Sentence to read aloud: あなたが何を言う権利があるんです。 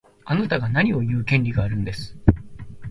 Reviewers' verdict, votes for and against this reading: accepted, 2, 0